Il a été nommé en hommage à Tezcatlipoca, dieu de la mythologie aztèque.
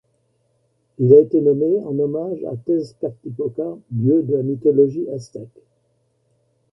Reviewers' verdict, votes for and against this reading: accepted, 2, 1